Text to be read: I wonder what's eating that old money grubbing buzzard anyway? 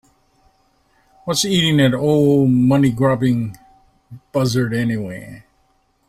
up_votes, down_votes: 2, 3